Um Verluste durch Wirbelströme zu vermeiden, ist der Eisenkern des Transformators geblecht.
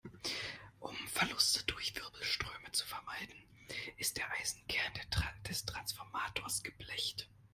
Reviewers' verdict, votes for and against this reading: rejected, 0, 2